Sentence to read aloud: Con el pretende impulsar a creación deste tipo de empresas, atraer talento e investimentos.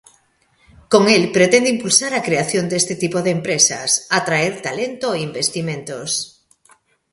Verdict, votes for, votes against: accepted, 2, 0